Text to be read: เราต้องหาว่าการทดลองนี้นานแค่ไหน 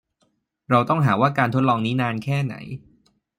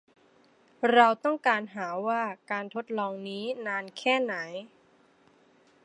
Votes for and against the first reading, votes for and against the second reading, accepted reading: 2, 0, 0, 2, first